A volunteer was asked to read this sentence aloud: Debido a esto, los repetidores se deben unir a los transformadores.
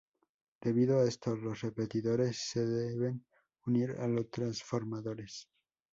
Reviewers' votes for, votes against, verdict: 4, 0, accepted